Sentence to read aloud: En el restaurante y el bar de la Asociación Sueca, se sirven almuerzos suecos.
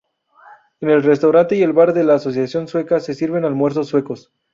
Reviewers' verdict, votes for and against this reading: accepted, 2, 0